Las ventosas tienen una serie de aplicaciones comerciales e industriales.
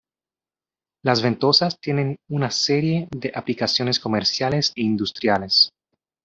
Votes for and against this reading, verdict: 2, 0, accepted